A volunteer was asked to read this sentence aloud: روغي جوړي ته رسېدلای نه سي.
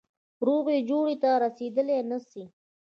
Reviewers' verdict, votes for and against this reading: accepted, 2, 0